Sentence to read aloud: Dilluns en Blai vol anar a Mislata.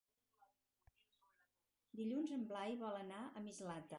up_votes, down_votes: 2, 2